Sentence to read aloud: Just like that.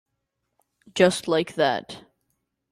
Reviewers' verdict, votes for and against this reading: accepted, 2, 0